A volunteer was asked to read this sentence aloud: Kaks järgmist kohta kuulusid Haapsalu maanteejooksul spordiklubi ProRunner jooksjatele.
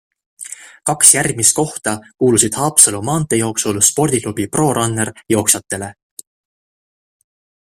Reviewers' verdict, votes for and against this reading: accepted, 2, 0